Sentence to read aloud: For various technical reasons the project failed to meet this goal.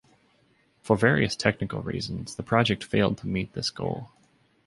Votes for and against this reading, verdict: 2, 0, accepted